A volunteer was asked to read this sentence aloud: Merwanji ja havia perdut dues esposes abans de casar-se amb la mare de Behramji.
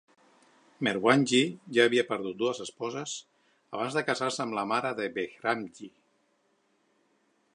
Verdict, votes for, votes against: accepted, 4, 0